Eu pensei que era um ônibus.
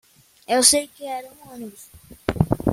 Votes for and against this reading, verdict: 0, 2, rejected